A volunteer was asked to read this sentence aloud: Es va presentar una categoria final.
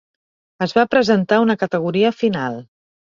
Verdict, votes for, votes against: accepted, 4, 0